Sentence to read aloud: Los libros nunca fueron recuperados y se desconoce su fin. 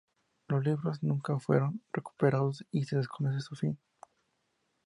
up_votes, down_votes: 2, 0